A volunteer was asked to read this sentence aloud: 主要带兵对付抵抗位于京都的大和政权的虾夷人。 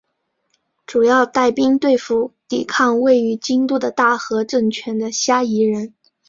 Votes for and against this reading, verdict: 4, 2, accepted